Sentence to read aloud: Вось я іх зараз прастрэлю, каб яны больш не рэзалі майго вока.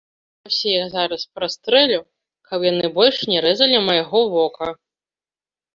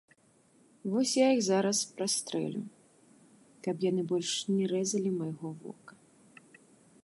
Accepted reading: second